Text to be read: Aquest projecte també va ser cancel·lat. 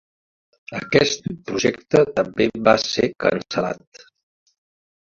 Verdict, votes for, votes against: accepted, 2, 1